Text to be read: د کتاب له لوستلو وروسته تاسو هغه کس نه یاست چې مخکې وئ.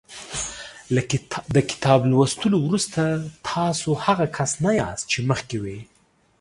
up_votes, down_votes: 1, 2